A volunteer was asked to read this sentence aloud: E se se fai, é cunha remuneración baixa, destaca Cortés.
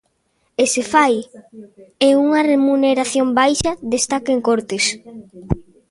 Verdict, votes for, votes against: rejected, 0, 2